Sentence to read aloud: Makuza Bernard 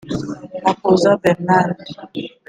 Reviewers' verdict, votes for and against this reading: accepted, 2, 0